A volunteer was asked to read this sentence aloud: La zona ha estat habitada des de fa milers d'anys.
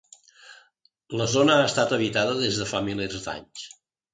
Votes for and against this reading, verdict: 2, 0, accepted